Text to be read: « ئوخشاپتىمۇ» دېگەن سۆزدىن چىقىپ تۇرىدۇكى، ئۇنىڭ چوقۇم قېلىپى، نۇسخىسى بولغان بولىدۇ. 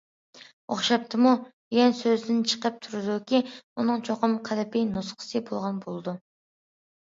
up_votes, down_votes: 2, 0